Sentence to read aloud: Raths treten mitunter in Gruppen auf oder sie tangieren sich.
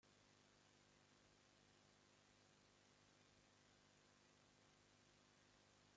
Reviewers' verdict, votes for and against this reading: rejected, 0, 2